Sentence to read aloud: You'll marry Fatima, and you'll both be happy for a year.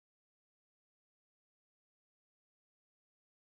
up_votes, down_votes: 0, 3